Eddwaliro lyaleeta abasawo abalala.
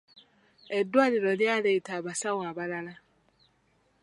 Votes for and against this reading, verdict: 2, 0, accepted